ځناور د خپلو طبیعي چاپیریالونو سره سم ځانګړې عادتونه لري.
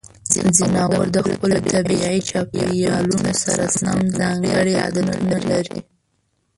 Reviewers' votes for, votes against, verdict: 1, 2, rejected